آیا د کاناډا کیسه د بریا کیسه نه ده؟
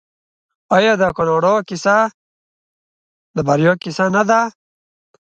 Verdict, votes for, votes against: accepted, 2, 0